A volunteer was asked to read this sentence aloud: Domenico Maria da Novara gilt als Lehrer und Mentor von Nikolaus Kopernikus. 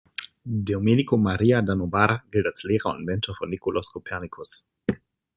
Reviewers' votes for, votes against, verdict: 3, 0, accepted